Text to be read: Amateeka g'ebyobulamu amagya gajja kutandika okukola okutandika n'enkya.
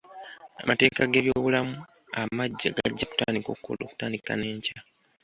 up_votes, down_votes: 2, 0